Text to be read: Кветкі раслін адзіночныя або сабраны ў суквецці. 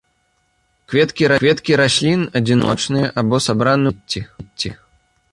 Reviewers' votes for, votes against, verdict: 1, 2, rejected